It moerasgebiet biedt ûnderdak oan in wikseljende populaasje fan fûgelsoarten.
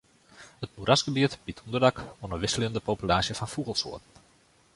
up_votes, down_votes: 2, 1